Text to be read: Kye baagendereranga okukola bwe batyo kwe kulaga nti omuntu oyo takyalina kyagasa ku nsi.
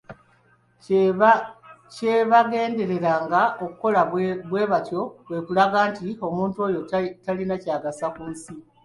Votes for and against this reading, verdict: 1, 2, rejected